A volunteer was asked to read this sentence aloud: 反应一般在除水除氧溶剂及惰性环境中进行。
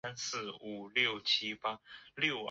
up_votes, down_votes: 0, 2